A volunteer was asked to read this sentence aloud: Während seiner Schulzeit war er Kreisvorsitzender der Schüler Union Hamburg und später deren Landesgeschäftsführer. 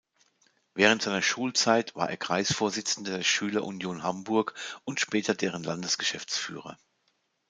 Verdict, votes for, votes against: accepted, 2, 0